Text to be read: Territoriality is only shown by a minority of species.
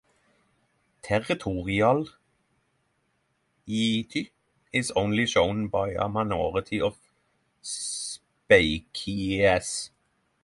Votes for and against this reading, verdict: 3, 3, rejected